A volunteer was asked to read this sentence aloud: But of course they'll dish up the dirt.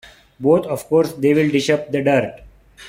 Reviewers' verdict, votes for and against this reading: rejected, 1, 2